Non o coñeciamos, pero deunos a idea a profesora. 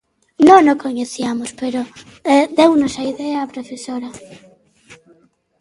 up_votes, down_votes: 1, 2